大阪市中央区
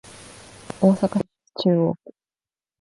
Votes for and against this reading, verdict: 2, 1, accepted